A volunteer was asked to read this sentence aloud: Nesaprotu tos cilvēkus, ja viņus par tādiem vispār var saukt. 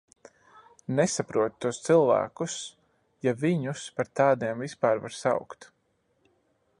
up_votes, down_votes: 2, 0